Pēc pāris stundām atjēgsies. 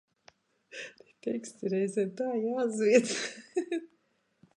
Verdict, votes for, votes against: rejected, 0, 2